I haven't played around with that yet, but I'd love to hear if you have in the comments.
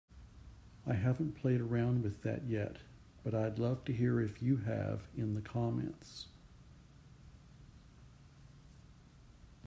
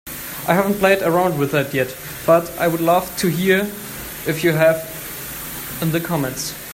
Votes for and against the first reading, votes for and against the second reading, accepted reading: 2, 0, 1, 2, first